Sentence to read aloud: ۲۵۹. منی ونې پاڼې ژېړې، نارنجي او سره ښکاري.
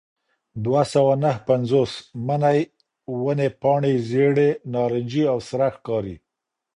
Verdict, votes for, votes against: rejected, 0, 2